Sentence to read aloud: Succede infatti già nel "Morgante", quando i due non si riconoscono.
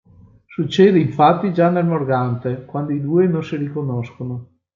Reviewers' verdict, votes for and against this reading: accepted, 2, 0